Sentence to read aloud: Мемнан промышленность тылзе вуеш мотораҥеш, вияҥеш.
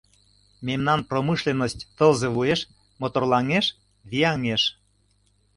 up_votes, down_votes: 0, 2